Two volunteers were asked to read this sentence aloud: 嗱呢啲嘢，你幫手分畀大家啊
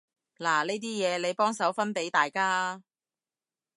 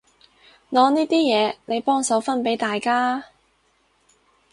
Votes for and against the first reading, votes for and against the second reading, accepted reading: 2, 0, 0, 4, first